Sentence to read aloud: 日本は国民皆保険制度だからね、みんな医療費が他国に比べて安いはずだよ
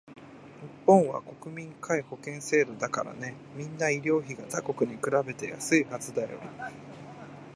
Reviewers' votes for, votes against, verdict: 1, 2, rejected